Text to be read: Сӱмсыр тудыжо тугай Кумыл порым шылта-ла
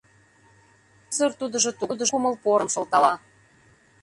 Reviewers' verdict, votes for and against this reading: rejected, 0, 2